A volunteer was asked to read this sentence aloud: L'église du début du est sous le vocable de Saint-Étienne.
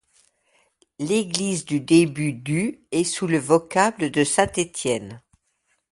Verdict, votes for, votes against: accepted, 2, 0